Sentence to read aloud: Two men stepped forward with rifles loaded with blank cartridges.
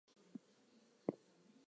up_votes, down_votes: 0, 2